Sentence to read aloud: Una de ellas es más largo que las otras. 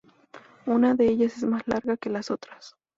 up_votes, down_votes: 0, 2